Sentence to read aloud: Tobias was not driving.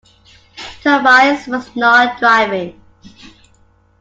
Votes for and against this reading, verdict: 2, 0, accepted